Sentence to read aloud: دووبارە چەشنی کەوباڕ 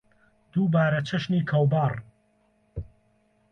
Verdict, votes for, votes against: accepted, 2, 0